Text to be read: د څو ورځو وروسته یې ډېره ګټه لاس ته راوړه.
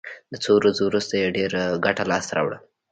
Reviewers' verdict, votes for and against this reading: rejected, 1, 2